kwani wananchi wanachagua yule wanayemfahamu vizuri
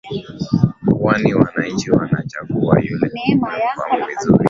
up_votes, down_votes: 8, 1